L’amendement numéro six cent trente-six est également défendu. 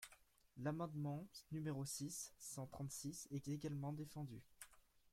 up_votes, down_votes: 1, 2